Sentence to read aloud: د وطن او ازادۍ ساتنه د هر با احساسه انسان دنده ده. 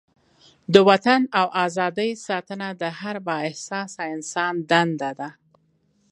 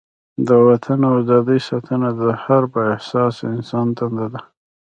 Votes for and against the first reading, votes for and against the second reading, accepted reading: 3, 0, 1, 2, first